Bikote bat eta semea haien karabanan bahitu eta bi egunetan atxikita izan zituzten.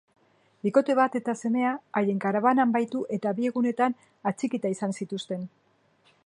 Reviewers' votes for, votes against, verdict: 0, 2, rejected